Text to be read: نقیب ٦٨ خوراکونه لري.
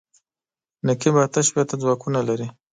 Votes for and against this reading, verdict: 0, 2, rejected